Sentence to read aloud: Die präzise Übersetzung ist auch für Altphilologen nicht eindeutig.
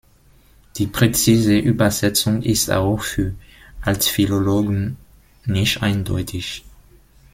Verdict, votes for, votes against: rejected, 0, 2